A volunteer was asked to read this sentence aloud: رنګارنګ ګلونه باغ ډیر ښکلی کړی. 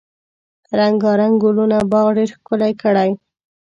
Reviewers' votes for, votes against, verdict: 2, 0, accepted